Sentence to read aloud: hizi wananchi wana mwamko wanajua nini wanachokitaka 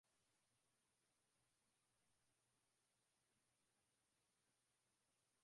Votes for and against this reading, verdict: 0, 2, rejected